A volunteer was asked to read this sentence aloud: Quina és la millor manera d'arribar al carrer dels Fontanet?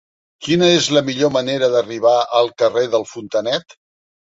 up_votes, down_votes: 1, 2